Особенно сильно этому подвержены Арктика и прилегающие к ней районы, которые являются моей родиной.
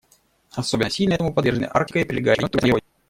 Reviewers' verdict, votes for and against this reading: rejected, 0, 2